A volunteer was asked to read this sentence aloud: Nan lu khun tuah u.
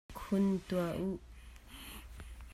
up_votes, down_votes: 0, 2